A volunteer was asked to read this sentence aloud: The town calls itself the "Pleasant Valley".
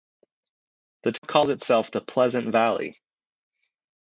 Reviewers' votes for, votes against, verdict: 0, 2, rejected